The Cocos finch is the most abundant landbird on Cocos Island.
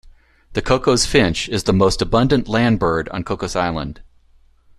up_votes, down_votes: 2, 0